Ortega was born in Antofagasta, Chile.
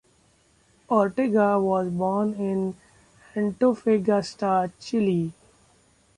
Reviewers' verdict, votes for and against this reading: rejected, 1, 2